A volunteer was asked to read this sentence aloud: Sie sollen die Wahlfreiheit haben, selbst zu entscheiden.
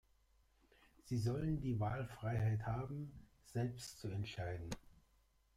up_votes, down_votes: 1, 2